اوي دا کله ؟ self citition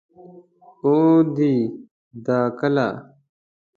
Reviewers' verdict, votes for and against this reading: rejected, 1, 2